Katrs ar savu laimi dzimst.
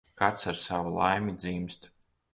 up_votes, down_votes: 1, 2